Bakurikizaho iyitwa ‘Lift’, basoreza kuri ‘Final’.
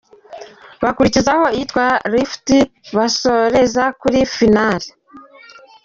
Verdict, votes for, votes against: rejected, 0, 2